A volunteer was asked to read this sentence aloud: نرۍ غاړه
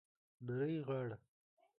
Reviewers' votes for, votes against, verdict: 0, 2, rejected